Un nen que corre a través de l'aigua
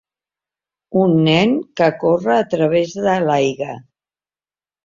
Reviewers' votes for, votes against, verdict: 2, 3, rejected